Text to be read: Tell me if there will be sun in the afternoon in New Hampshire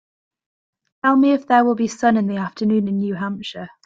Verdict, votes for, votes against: accepted, 2, 0